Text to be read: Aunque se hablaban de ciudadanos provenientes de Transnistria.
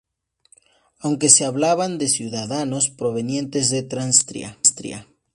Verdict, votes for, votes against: rejected, 0, 2